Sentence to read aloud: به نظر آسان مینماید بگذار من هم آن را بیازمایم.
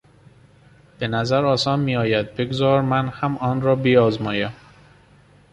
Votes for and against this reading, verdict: 1, 2, rejected